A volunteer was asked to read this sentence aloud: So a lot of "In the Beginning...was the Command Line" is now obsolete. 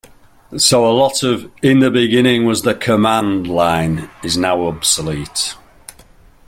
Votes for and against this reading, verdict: 2, 0, accepted